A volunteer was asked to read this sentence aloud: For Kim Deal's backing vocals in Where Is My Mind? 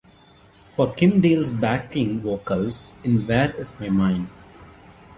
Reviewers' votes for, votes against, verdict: 2, 0, accepted